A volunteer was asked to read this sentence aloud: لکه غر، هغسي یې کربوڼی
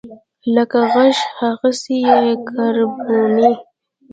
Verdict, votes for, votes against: rejected, 1, 2